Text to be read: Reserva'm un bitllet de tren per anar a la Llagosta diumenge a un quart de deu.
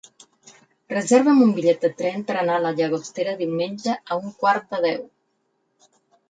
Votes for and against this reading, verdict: 2, 4, rejected